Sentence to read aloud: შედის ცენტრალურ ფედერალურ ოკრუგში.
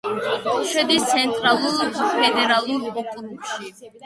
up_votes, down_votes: 1, 2